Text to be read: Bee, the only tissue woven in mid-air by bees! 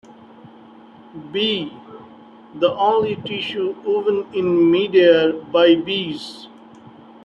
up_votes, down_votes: 1, 2